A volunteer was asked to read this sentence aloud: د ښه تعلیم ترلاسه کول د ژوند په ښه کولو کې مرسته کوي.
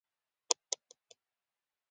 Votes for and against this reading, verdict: 1, 2, rejected